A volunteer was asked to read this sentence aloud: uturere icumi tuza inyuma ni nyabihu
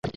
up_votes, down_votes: 1, 2